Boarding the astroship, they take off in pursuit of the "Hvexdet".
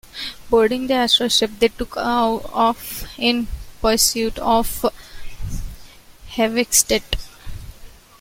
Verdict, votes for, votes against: rejected, 1, 2